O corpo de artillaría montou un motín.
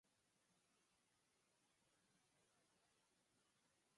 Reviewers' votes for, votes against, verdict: 0, 4, rejected